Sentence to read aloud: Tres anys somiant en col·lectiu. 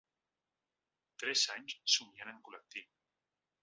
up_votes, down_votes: 1, 2